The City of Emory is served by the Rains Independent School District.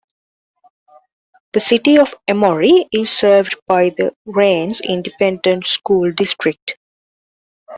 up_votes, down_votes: 1, 2